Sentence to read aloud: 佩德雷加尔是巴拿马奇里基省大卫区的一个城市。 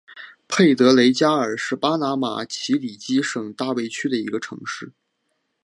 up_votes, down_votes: 3, 1